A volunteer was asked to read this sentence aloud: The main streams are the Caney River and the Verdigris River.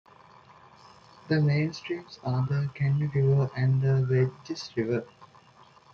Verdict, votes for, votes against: accepted, 3, 2